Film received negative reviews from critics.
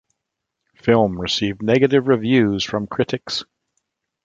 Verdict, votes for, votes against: accepted, 2, 0